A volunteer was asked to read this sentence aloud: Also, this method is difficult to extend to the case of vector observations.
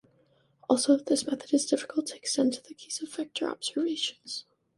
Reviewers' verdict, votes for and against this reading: rejected, 1, 2